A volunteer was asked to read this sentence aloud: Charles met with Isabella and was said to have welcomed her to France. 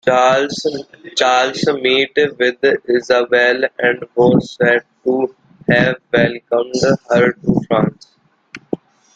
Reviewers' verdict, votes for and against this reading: rejected, 0, 2